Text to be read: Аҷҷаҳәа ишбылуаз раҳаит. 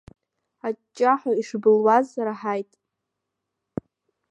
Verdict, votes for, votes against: rejected, 0, 2